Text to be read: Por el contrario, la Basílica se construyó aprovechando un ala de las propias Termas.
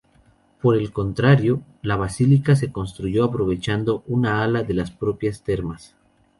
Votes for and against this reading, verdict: 0, 2, rejected